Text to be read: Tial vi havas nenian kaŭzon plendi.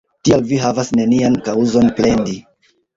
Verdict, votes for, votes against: rejected, 1, 2